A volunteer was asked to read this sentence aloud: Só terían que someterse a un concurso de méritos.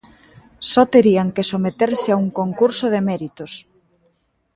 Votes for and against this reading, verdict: 3, 0, accepted